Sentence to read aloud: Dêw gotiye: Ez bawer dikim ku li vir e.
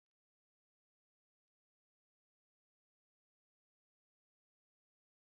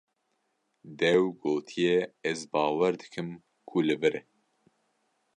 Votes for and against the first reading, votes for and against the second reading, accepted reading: 0, 2, 2, 0, second